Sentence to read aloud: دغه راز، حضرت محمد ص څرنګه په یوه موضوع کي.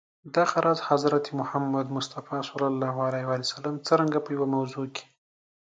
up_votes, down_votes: 2, 0